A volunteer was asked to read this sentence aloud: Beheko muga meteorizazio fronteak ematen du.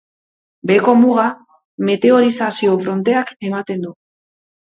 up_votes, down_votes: 2, 0